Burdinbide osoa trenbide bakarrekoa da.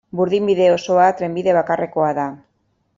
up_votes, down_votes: 2, 0